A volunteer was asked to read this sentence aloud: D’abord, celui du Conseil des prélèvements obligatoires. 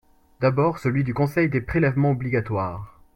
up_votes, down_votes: 2, 0